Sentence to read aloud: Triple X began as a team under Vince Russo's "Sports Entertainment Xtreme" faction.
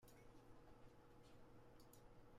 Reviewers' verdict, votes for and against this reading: rejected, 0, 2